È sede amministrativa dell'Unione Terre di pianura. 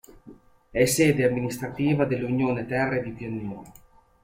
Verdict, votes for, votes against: accepted, 2, 0